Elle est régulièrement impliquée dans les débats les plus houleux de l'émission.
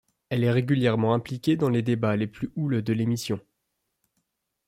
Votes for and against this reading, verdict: 2, 0, accepted